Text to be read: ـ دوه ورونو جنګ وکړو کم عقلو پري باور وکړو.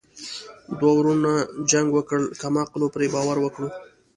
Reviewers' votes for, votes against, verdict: 2, 0, accepted